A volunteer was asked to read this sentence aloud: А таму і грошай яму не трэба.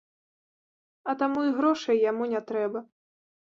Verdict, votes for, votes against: rejected, 0, 2